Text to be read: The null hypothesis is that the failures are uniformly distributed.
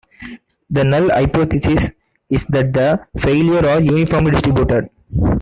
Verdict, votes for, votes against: accepted, 2, 1